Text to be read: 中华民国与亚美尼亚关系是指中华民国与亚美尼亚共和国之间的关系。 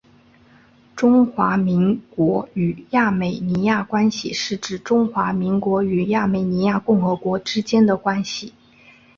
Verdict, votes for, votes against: rejected, 1, 2